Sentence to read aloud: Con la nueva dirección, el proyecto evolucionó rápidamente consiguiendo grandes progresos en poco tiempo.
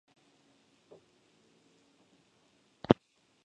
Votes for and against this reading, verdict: 2, 6, rejected